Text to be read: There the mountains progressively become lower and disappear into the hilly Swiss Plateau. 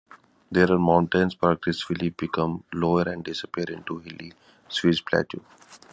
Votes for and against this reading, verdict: 0, 2, rejected